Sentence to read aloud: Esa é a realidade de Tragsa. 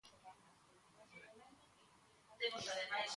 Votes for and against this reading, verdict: 0, 2, rejected